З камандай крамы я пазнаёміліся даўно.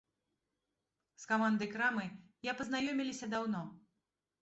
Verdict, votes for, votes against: accepted, 2, 1